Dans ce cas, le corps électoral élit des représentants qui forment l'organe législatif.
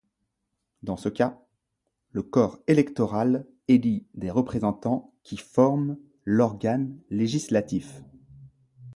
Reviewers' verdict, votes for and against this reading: accepted, 2, 0